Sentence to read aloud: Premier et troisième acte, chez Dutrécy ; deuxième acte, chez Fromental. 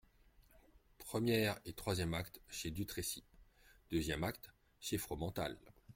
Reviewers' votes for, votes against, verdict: 1, 2, rejected